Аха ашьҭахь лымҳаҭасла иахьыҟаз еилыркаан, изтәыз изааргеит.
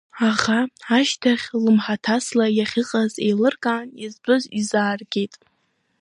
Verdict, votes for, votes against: accepted, 2, 0